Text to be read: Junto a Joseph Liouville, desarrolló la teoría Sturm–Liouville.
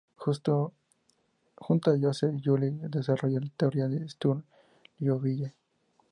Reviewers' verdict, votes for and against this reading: accepted, 2, 0